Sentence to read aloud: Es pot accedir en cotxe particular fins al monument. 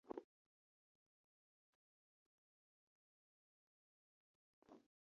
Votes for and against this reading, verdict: 0, 6, rejected